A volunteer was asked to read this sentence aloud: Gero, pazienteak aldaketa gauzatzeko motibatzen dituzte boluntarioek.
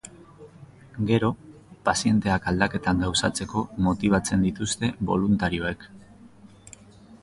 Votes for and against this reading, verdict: 0, 3, rejected